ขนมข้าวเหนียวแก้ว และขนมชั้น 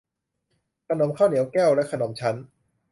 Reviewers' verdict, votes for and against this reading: accepted, 2, 0